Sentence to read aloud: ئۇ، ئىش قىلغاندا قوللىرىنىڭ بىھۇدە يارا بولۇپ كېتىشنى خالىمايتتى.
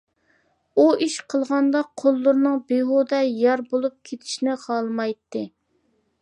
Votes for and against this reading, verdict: 2, 0, accepted